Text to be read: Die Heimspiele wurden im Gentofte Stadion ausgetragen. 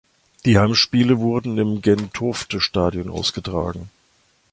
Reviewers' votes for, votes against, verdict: 2, 0, accepted